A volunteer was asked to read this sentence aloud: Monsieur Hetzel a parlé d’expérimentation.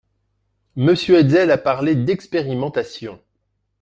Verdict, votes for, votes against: accepted, 4, 0